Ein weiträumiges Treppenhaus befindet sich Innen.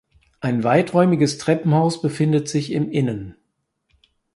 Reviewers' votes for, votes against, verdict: 2, 4, rejected